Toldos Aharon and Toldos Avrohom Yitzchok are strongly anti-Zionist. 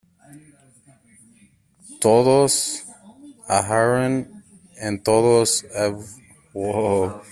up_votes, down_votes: 0, 2